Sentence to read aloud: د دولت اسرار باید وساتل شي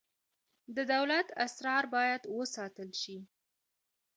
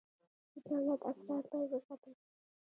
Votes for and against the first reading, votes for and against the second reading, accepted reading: 2, 0, 1, 2, first